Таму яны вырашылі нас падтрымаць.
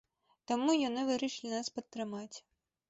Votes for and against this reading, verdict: 2, 0, accepted